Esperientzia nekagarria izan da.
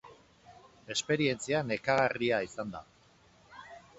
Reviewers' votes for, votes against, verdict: 4, 0, accepted